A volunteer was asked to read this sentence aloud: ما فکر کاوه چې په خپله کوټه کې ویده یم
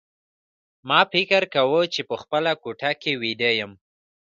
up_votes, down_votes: 2, 0